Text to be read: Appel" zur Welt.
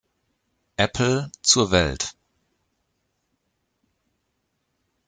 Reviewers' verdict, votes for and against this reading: rejected, 0, 2